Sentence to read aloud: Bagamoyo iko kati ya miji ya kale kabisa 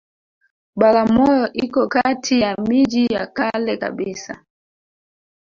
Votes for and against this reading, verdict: 0, 2, rejected